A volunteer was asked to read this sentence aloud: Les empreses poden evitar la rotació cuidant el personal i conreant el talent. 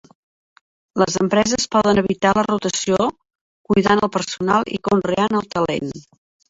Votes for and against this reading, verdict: 3, 2, accepted